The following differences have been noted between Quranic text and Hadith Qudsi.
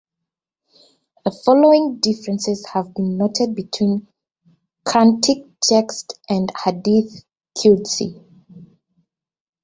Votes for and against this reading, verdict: 0, 2, rejected